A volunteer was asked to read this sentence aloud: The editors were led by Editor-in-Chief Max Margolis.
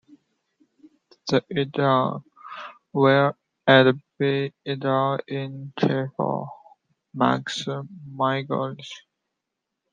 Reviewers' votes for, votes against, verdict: 0, 2, rejected